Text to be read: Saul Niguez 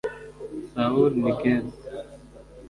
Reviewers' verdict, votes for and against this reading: rejected, 1, 2